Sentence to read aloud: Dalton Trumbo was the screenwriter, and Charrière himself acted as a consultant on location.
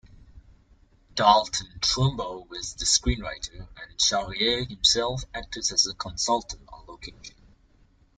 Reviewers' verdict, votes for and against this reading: rejected, 1, 2